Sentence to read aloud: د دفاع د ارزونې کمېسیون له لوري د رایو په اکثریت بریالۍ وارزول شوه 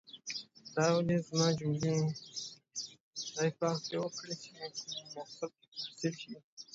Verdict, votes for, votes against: rejected, 0, 2